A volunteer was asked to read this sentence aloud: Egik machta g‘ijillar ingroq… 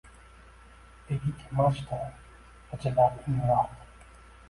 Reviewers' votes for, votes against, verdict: 0, 2, rejected